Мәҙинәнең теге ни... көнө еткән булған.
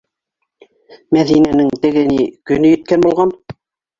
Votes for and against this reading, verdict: 1, 2, rejected